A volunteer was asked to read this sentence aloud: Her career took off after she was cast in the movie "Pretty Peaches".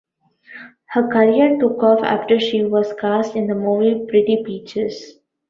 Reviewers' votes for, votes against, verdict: 2, 0, accepted